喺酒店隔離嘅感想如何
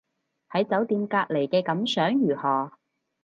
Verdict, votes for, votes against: accepted, 4, 0